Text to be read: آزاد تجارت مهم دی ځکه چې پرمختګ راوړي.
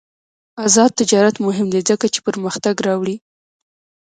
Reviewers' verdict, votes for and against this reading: rejected, 0, 2